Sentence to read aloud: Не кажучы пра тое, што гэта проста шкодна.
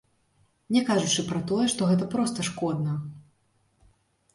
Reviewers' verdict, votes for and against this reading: rejected, 0, 2